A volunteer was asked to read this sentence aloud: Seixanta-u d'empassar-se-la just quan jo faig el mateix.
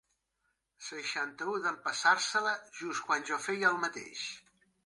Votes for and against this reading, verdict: 0, 2, rejected